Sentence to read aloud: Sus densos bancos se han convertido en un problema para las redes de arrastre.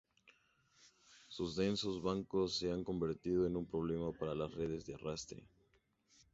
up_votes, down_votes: 2, 2